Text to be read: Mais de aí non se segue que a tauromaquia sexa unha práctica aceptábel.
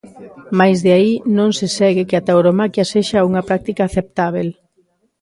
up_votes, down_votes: 2, 0